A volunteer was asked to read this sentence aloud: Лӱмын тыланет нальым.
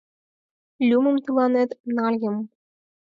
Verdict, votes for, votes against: rejected, 0, 4